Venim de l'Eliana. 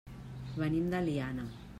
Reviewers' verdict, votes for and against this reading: rejected, 1, 2